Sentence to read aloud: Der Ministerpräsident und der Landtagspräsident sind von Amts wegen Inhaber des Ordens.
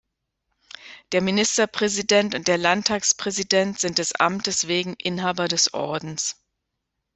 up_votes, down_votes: 0, 2